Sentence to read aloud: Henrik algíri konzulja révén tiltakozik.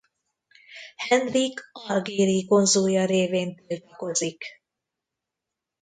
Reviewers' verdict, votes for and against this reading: rejected, 0, 2